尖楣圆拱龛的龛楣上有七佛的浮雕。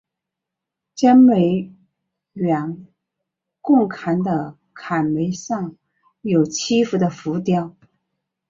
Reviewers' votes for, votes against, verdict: 6, 0, accepted